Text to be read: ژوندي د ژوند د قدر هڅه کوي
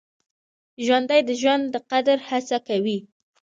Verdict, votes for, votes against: accepted, 2, 1